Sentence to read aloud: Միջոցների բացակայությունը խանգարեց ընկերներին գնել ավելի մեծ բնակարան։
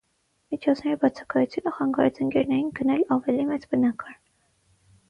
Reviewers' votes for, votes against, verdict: 0, 3, rejected